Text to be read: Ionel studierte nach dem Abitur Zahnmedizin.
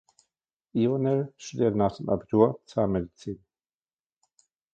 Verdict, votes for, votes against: accepted, 2, 1